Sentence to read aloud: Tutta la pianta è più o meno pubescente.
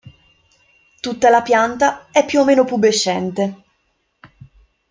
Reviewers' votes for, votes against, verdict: 2, 0, accepted